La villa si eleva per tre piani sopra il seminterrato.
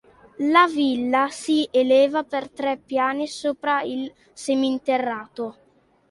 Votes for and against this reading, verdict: 2, 0, accepted